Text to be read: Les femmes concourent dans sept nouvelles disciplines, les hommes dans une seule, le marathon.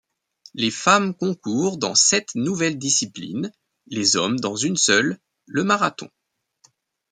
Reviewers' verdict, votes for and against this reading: accepted, 2, 0